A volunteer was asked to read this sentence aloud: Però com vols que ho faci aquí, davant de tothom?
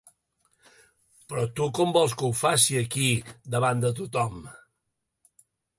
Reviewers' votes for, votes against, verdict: 1, 3, rejected